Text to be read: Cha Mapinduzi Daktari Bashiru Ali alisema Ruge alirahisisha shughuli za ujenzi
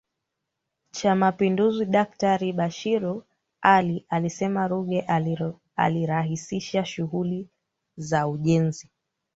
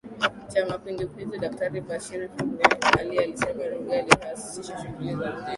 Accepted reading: first